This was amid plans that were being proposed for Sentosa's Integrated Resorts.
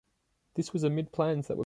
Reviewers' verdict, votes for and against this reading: rejected, 0, 2